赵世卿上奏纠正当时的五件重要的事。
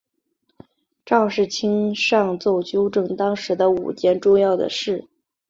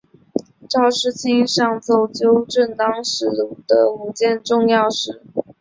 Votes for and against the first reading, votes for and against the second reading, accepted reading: 3, 0, 1, 2, first